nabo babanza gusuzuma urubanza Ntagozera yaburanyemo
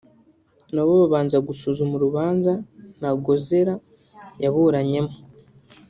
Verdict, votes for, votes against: accepted, 2, 0